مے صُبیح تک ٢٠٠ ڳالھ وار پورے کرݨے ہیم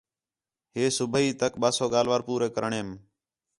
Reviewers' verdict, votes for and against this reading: rejected, 0, 2